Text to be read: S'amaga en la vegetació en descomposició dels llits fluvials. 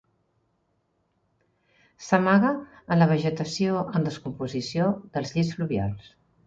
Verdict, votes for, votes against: accepted, 2, 0